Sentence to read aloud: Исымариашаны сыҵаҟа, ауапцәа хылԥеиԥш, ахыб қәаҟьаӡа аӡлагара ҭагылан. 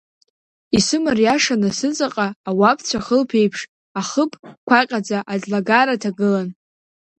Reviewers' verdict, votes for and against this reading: accepted, 2, 1